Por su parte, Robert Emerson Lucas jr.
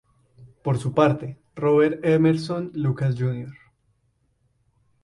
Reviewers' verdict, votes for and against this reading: rejected, 2, 2